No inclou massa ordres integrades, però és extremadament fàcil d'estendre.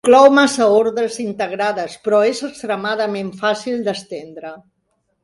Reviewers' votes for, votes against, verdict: 0, 2, rejected